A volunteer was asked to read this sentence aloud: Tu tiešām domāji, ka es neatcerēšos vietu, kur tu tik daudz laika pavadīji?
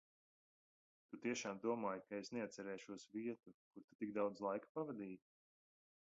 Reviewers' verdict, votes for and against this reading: rejected, 1, 2